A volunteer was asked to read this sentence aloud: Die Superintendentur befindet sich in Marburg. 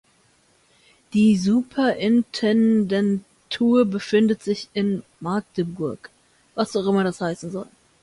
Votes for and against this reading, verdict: 0, 2, rejected